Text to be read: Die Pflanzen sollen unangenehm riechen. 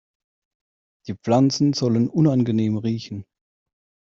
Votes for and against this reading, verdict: 2, 0, accepted